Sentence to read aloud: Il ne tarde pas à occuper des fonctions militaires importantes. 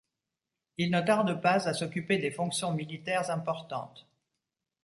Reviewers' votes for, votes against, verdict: 1, 2, rejected